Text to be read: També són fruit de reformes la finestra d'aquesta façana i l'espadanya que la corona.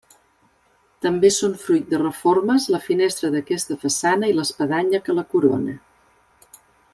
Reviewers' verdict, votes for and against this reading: accepted, 3, 0